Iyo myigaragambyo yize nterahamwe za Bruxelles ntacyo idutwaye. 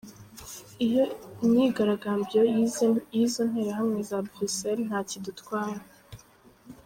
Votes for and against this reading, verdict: 1, 2, rejected